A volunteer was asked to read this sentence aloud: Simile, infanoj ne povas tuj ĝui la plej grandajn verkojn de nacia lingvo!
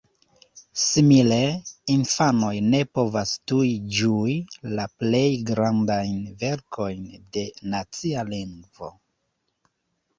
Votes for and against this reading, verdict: 2, 0, accepted